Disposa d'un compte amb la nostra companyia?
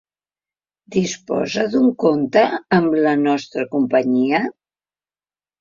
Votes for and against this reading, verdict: 3, 0, accepted